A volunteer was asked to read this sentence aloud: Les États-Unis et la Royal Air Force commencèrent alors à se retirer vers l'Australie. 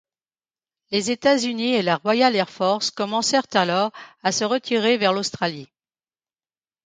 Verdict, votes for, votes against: accepted, 2, 0